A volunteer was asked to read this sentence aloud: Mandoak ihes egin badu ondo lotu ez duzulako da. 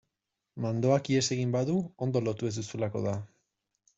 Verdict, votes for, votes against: accepted, 2, 0